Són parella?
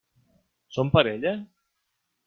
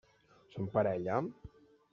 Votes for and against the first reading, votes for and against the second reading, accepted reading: 3, 0, 0, 2, first